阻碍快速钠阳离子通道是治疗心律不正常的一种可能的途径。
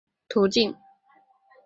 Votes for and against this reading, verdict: 2, 1, accepted